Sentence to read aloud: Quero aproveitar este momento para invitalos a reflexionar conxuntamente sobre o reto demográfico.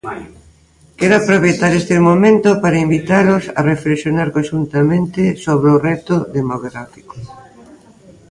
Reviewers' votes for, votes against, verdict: 1, 2, rejected